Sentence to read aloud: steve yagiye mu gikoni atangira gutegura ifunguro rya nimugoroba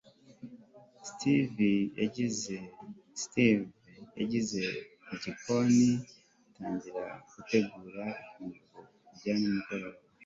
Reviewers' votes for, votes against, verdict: 1, 3, rejected